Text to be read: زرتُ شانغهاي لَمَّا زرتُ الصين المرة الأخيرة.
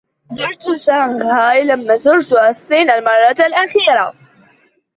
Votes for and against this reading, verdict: 0, 2, rejected